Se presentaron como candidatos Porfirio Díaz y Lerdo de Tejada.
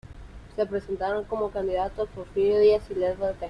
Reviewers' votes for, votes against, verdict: 0, 2, rejected